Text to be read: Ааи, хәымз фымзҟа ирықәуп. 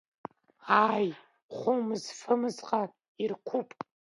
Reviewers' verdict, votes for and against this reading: rejected, 0, 2